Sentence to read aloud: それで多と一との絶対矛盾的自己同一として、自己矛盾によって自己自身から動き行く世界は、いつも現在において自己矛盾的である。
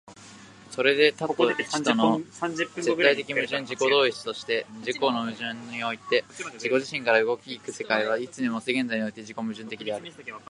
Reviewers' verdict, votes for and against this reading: rejected, 0, 2